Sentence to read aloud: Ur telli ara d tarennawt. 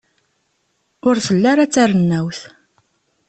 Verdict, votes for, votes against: accepted, 2, 0